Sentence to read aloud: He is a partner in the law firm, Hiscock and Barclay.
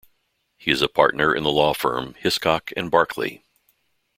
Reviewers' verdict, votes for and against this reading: rejected, 1, 2